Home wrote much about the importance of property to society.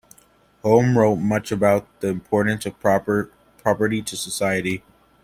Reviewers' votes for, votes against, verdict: 2, 0, accepted